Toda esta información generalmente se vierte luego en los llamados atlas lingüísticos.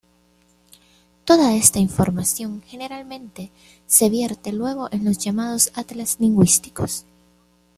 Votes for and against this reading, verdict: 2, 0, accepted